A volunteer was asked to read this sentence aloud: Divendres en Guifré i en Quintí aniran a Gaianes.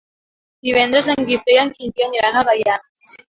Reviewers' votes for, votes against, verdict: 1, 2, rejected